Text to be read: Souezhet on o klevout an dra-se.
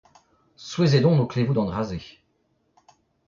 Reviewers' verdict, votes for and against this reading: rejected, 0, 2